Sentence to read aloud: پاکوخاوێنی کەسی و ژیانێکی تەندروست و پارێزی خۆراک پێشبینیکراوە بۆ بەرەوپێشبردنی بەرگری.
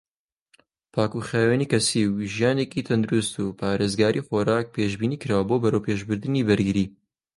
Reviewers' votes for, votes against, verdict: 2, 0, accepted